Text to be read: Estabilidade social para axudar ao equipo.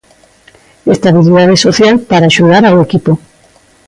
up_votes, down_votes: 2, 0